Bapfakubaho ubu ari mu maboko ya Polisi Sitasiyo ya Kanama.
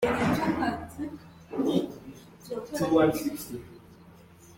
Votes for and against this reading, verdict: 1, 3, rejected